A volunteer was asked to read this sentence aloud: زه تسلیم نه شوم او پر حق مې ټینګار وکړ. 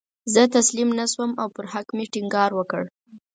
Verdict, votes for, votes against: accepted, 4, 0